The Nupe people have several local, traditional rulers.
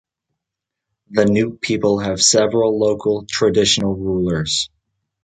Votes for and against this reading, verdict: 2, 0, accepted